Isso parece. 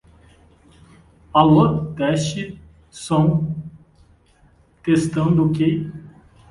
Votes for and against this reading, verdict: 0, 2, rejected